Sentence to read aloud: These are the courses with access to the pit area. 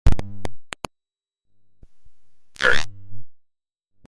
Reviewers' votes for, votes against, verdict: 0, 2, rejected